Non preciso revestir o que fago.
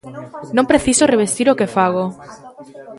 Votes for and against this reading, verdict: 1, 2, rejected